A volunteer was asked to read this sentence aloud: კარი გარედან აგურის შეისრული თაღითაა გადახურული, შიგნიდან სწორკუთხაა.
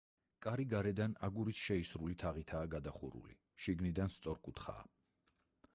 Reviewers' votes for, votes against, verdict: 2, 4, rejected